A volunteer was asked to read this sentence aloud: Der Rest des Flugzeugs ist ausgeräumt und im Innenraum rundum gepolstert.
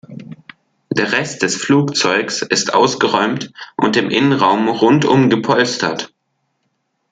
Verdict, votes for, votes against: accepted, 2, 0